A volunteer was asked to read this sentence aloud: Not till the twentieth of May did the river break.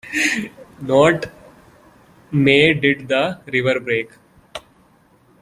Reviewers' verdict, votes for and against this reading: rejected, 0, 2